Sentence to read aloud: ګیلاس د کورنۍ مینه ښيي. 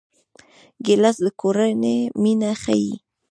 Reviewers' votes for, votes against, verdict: 2, 1, accepted